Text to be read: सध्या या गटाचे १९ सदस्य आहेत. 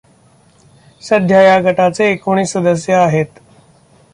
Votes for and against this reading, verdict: 0, 2, rejected